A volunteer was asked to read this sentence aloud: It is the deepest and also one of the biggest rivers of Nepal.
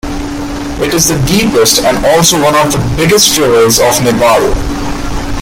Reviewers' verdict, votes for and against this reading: rejected, 1, 2